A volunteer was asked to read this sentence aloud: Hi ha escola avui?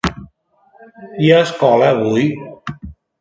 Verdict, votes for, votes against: accepted, 2, 0